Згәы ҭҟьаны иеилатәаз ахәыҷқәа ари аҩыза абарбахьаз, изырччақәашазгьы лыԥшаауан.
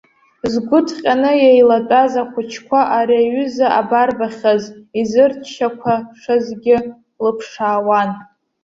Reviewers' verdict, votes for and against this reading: rejected, 1, 2